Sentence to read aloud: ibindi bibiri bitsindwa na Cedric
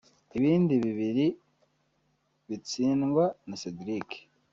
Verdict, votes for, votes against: rejected, 1, 2